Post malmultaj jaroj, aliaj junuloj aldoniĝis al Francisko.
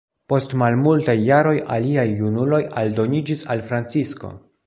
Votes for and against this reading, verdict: 2, 0, accepted